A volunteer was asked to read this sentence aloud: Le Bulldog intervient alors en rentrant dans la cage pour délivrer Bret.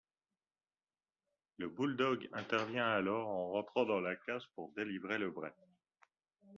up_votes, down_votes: 1, 2